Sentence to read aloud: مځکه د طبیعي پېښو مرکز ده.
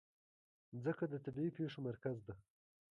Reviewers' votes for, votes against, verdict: 1, 2, rejected